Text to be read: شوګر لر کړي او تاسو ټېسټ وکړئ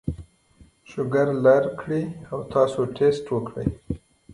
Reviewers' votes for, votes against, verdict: 2, 1, accepted